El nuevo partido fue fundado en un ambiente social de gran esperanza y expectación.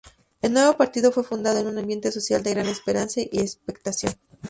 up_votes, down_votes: 0, 2